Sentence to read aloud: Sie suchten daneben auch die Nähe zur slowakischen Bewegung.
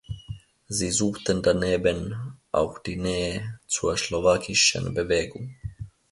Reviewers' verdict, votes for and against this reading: rejected, 0, 2